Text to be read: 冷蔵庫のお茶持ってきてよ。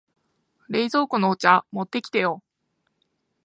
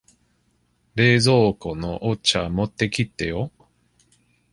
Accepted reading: first